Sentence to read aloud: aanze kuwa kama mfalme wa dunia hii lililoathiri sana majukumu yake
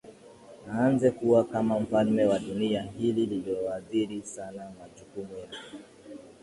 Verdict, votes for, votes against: accepted, 2, 1